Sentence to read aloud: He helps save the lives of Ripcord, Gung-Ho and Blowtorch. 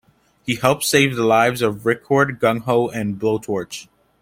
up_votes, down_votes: 2, 0